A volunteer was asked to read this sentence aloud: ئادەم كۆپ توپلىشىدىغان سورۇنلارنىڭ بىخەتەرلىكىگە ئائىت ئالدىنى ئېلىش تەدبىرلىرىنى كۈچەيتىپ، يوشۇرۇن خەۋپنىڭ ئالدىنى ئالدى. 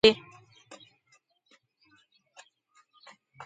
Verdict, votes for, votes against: rejected, 0, 2